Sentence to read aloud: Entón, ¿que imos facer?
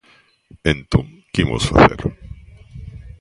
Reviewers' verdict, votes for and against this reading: rejected, 1, 2